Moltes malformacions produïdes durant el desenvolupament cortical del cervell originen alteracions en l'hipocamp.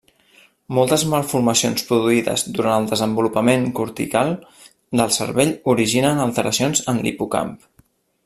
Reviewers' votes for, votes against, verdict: 3, 0, accepted